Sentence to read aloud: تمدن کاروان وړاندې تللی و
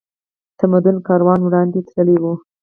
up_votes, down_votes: 2, 2